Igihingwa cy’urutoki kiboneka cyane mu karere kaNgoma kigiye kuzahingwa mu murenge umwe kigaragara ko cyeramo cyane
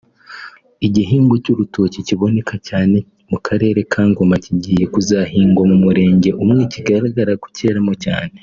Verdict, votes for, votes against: accepted, 3, 0